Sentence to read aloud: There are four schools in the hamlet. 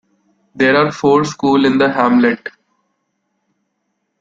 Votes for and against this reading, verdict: 2, 1, accepted